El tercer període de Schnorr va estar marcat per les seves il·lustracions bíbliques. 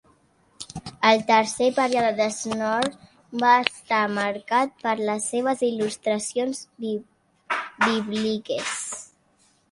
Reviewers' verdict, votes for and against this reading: rejected, 0, 3